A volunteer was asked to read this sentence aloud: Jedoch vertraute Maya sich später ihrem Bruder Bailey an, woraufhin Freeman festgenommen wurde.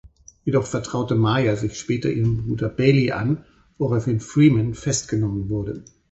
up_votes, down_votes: 4, 0